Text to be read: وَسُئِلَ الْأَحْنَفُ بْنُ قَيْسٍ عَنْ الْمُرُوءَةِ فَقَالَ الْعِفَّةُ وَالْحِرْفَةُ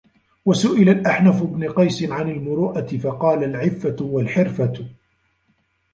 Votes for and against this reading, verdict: 1, 2, rejected